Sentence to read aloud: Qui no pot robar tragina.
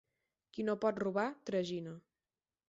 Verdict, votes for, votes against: accepted, 4, 0